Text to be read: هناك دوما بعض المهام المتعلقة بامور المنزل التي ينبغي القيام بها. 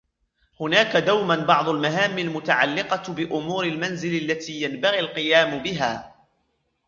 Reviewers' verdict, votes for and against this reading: rejected, 1, 2